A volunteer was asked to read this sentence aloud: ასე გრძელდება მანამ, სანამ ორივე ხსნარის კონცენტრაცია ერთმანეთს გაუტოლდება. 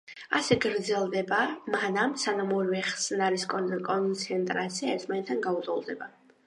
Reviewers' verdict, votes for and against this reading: rejected, 0, 2